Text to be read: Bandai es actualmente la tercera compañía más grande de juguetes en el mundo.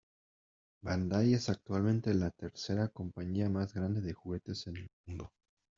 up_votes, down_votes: 0, 2